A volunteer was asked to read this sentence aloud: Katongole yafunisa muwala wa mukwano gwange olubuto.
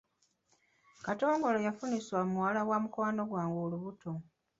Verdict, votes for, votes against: rejected, 0, 2